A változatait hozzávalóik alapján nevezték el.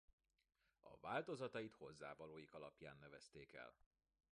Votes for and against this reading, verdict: 2, 0, accepted